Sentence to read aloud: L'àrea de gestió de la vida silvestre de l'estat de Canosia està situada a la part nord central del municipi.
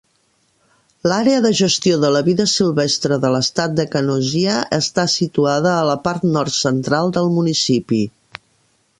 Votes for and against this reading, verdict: 1, 2, rejected